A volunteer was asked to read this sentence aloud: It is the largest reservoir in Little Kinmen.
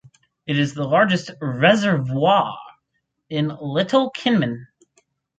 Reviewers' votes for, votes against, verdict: 6, 0, accepted